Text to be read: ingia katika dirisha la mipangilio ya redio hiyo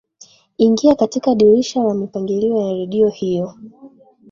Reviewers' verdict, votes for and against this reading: rejected, 1, 2